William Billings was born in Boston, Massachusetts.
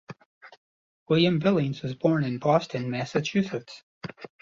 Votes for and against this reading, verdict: 2, 0, accepted